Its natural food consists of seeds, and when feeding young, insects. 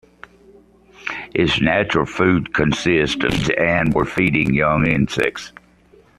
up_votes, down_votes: 0, 2